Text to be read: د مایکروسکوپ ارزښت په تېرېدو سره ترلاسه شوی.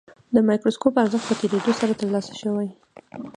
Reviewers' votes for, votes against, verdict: 2, 1, accepted